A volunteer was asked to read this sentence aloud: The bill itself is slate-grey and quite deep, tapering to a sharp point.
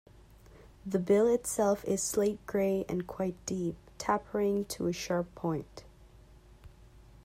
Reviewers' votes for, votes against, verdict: 0, 2, rejected